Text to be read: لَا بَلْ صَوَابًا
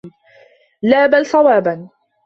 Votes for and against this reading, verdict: 2, 0, accepted